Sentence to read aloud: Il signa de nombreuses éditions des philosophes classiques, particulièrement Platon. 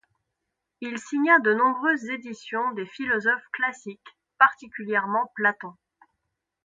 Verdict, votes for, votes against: accepted, 2, 0